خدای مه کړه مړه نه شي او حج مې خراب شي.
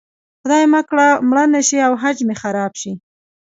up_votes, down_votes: 1, 2